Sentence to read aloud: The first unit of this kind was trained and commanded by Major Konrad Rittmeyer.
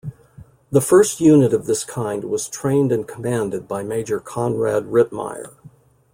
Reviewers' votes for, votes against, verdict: 2, 0, accepted